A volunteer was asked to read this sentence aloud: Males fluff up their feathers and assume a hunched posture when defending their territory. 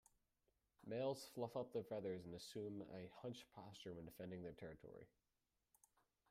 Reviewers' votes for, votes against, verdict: 2, 0, accepted